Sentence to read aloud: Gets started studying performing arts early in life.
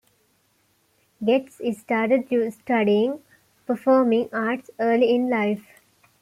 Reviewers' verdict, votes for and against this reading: rejected, 1, 2